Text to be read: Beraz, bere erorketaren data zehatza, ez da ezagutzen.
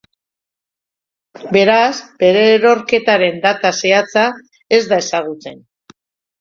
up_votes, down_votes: 2, 0